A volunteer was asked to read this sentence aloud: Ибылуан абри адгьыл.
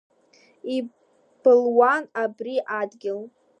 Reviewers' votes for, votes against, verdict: 0, 2, rejected